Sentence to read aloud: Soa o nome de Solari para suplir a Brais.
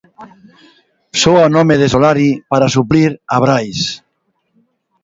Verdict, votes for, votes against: accepted, 2, 0